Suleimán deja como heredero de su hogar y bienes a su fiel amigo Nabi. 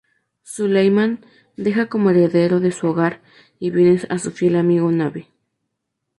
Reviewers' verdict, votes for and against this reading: accepted, 4, 0